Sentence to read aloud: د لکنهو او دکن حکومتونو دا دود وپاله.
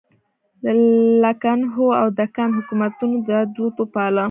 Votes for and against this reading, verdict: 0, 2, rejected